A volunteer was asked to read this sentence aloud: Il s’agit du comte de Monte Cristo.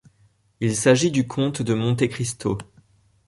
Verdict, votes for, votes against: accepted, 2, 0